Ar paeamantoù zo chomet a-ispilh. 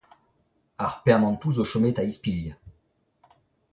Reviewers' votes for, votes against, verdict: 0, 2, rejected